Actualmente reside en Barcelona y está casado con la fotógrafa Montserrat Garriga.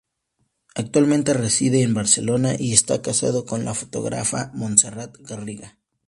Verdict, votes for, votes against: accepted, 2, 0